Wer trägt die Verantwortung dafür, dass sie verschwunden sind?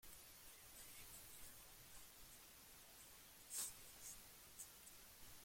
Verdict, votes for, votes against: rejected, 0, 2